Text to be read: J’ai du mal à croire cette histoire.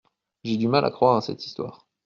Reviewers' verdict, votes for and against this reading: rejected, 1, 2